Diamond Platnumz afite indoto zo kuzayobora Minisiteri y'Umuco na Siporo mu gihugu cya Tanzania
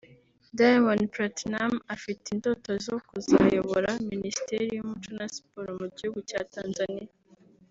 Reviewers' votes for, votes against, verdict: 2, 0, accepted